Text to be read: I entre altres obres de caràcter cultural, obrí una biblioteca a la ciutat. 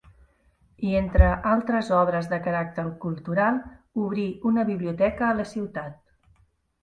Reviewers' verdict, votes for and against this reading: accepted, 3, 0